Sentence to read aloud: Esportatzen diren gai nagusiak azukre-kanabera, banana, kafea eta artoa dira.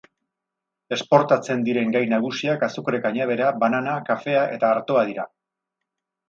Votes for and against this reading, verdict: 4, 0, accepted